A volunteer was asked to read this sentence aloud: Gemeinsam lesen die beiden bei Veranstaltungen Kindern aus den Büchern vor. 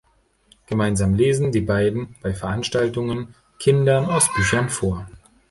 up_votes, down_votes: 0, 2